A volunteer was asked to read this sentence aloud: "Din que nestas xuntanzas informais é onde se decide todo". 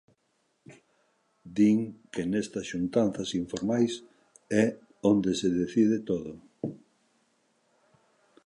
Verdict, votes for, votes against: accepted, 2, 0